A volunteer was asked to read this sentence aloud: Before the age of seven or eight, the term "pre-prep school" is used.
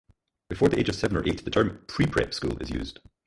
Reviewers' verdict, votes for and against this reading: rejected, 0, 4